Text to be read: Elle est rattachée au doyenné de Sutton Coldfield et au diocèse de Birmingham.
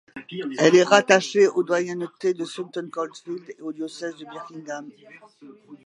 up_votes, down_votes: 1, 2